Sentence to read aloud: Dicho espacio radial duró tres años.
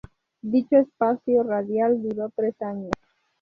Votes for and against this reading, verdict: 0, 2, rejected